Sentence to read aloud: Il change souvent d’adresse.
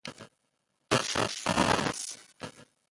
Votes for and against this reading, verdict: 1, 2, rejected